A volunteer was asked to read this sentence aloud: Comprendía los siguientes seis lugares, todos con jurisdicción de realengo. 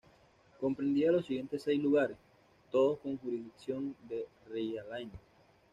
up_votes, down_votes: 1, 2